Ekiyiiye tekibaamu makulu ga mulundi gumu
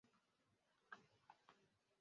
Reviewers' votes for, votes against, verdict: 0, 2, rejected